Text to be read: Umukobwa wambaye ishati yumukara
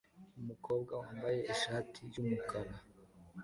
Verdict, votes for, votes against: accepted, 2, 0